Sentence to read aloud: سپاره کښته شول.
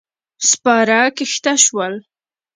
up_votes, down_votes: 2, 0